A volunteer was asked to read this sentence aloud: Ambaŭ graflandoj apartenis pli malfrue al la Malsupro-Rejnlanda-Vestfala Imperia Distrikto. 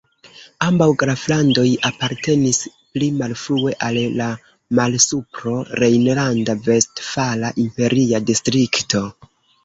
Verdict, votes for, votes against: rejected, 1, 2